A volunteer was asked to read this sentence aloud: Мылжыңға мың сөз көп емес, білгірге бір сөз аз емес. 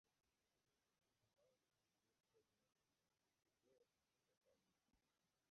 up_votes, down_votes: 0, 2